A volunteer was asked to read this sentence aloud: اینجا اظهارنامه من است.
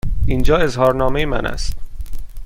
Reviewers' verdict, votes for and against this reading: accepted, 2, 0